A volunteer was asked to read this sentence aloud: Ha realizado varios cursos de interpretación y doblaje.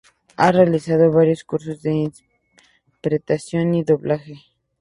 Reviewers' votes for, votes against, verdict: 0, 2, rejected